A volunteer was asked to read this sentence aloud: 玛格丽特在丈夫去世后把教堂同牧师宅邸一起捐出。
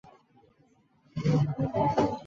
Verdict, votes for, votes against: rejected, 0, 3